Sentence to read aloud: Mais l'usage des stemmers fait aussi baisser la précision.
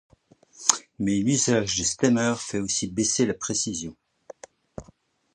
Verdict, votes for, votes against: rejected, 1, 2